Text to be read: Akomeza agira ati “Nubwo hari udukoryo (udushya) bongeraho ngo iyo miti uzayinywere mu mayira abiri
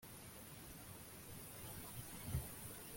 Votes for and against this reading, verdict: 0, 2, rejected